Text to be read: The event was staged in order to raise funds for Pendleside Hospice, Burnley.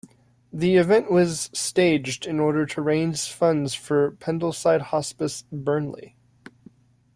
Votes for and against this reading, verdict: 1, 2, rejected